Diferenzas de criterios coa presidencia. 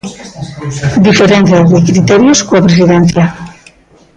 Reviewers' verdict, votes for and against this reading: rejected, 0, 2